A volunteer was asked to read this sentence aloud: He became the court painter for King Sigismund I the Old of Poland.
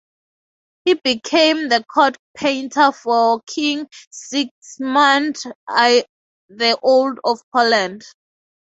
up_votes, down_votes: 2, 0